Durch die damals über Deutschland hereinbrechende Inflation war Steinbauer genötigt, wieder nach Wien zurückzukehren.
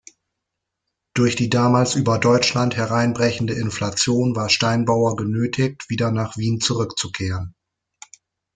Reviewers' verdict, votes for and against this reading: accepted, 2, 0